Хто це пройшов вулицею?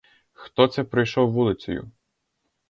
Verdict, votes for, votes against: rejected, 0, 2